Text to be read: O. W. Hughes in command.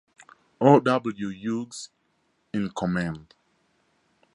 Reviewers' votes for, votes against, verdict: 4, 0, accepted